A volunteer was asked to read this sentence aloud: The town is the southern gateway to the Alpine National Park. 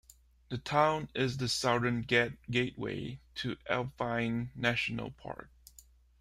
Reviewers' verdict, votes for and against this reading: rejected, 0, 2